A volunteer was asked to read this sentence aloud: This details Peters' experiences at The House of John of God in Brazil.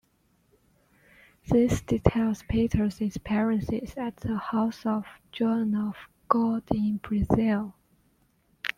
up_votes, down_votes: 0, 2